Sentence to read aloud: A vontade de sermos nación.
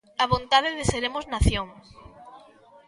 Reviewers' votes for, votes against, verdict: 0, 2, rejected